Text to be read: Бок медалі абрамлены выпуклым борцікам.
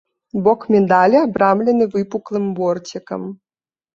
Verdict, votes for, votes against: accepted, 2, 0